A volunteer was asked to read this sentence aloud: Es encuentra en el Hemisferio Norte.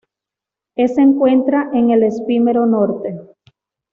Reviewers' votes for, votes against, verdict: 1, 2, rejected